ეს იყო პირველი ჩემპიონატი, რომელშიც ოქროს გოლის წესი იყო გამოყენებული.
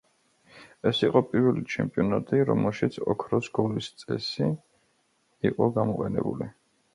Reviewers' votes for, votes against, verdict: 1, 2, rejected